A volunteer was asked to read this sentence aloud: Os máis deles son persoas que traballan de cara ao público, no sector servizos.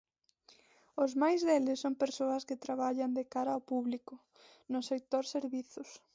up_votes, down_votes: 2, 0